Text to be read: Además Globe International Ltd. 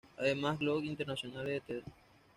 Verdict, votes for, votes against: accepted, 2, 0